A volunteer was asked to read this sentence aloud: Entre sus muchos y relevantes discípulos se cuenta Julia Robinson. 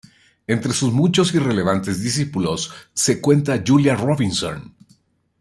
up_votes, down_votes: 1, 2